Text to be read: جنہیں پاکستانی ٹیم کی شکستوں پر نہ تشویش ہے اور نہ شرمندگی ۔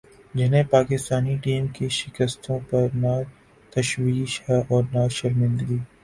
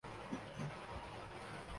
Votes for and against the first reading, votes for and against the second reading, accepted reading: 4, 0, 0, 2, first